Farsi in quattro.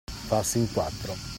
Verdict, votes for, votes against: accepted, 2, 0